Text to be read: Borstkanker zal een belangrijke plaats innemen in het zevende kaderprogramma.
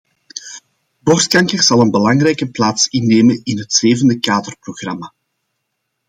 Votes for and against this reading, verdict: 2, 0, accepted